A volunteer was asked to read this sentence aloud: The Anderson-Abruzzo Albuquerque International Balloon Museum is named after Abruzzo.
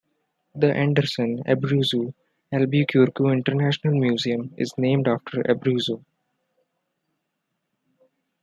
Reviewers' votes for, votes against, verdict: 1, 2, rejected